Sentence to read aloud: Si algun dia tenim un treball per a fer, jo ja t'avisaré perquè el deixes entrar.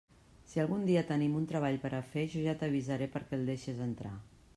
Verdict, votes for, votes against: accepted, 3, 0